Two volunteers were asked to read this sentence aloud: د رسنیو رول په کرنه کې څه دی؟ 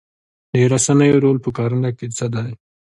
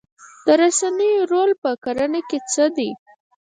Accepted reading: first